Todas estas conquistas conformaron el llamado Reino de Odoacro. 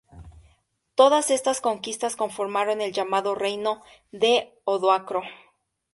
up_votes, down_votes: 4, 0